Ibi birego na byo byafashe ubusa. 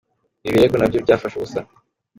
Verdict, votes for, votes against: accepted, 2, 0